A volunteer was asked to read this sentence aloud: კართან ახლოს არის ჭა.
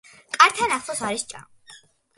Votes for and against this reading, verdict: 2, 0, accepted